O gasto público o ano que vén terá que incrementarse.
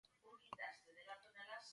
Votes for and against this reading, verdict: 0, 2, rejected